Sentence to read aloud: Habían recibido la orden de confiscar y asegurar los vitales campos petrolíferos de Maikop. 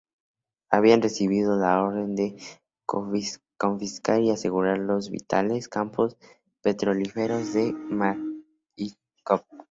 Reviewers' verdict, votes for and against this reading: rejected, 0, 2